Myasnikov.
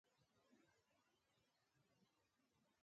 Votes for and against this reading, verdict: 1, 2, rejected